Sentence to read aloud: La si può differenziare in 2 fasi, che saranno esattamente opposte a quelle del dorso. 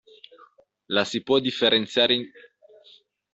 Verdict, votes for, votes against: rejected, 0, 2